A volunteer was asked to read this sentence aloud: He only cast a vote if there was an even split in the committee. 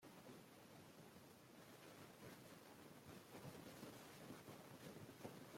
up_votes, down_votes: 0, 2